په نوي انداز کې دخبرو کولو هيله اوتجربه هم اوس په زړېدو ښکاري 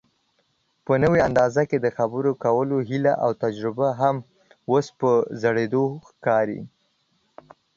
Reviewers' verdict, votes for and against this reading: accepted, 2, 0